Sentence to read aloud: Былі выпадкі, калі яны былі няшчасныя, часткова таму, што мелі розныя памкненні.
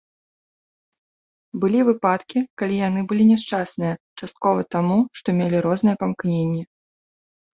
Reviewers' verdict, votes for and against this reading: rejected, 1, 2